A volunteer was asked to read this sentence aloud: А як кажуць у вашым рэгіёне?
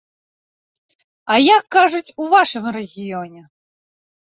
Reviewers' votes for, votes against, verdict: 2, 0, accepted